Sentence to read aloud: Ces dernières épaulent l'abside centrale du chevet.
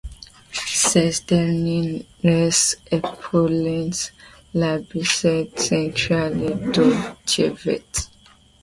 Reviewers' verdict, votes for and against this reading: rejected, 0, 2